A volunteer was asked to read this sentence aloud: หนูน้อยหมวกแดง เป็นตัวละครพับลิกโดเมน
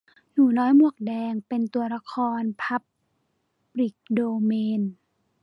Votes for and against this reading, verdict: 1, 2, rejected